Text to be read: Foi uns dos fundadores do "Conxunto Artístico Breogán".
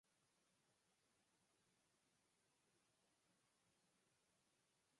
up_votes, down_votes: 0, 8